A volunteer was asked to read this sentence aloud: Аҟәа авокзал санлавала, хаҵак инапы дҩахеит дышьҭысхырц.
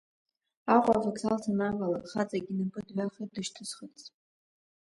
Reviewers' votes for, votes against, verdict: 0, 2, rejected